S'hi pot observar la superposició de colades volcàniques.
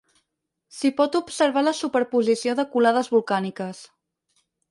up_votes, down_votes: 4, 0